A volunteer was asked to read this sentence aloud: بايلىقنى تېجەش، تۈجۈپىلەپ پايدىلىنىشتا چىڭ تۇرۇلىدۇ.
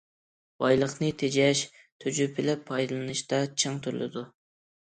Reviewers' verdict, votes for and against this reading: accepted, 2, 0